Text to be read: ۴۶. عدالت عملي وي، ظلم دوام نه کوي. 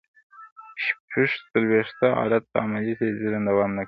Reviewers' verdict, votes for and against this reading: rejected, 0, 2